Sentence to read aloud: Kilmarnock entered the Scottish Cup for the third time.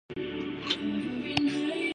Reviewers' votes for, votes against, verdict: 0, 2, rejected